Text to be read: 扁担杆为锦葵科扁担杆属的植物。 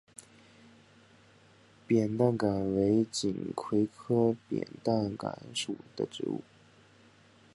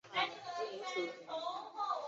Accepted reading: first